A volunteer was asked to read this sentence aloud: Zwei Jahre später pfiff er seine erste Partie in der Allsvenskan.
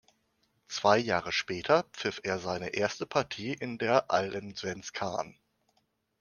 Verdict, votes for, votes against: rejected, 1, 2